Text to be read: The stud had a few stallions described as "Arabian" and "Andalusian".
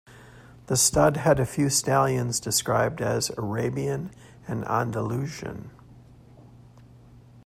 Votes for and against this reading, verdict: 2, 1, accepted